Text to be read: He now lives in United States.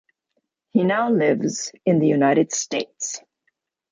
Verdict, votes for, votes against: rejected, 0, 2